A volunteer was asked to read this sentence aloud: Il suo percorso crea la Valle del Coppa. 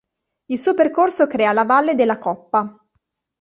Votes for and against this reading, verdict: 1, 2, rejected